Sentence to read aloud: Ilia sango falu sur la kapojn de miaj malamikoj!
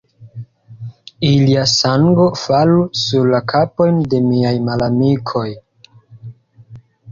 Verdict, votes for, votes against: accepted, 3, 0